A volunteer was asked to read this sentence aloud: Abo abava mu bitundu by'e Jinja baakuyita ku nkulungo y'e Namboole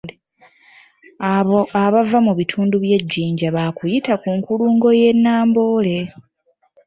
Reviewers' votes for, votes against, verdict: 2, 0, accepted